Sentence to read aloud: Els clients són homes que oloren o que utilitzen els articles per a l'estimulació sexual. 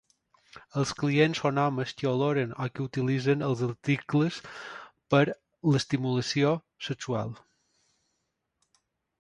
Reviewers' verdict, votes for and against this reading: rejected, 1, 2